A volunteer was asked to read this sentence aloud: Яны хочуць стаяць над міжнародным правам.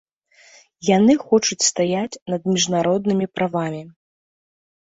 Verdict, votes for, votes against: rejected, 0, 2